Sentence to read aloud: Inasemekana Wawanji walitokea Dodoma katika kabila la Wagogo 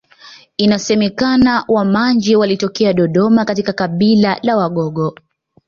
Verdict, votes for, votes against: rejected, 1, 2